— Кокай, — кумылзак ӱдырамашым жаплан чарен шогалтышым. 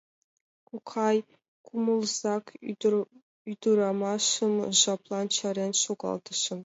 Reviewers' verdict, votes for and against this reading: accepted, 2, 0